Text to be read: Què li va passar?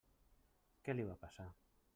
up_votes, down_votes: 1, 2